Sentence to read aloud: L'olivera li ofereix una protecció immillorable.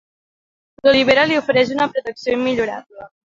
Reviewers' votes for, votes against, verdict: 2, 1, accepted